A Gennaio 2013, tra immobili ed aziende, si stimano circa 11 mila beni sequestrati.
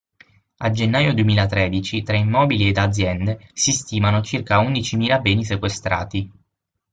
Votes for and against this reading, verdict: 0, 2, rejected